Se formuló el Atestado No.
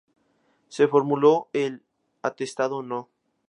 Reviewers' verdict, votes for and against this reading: accepted, 2, 0